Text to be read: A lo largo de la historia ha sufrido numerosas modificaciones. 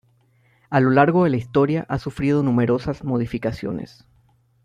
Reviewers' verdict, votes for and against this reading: accepted, 2, 0